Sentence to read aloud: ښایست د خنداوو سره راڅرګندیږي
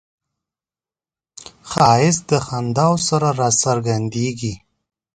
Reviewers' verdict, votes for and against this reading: accepted, 4, 0